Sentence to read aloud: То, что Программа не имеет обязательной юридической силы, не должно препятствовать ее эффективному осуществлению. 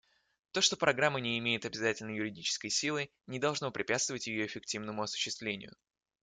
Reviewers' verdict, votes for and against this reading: accepted, 2, 0